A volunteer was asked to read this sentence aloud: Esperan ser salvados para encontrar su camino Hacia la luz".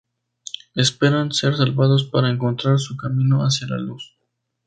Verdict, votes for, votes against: rejected, 2, 2